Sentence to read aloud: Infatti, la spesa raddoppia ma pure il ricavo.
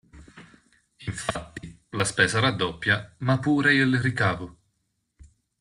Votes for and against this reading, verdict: 1, 2, rejected